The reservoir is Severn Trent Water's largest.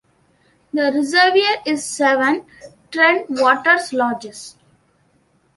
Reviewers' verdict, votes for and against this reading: rejected, 0, 2